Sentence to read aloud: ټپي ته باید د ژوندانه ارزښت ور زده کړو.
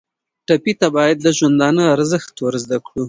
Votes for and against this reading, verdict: 2, 0, accepted